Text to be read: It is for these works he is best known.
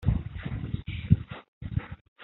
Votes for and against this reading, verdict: 0, 2, rejected